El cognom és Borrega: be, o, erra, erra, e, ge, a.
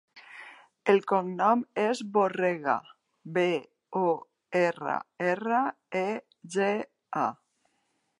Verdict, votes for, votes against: accepted, 3, 0